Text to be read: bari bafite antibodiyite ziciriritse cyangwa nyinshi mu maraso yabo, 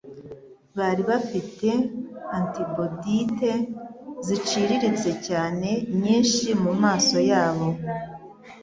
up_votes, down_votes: 0, 2